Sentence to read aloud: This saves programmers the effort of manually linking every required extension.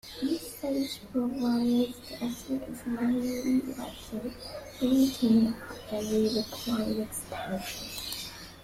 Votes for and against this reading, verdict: 2, 1, accepted